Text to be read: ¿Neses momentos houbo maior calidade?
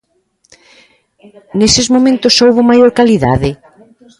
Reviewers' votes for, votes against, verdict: 1, 2, rejected